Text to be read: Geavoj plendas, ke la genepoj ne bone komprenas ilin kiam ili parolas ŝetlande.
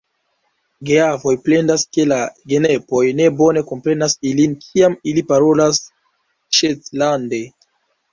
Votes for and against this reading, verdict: 1, 2, rejected